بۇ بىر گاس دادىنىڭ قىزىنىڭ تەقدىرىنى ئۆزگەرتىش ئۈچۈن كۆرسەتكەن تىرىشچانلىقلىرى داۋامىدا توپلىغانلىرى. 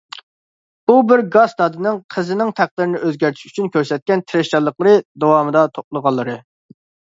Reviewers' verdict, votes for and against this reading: accepted, 2, 0